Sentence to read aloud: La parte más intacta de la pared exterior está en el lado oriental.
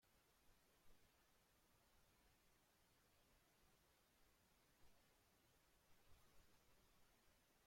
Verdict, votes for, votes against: rejected, 0, 2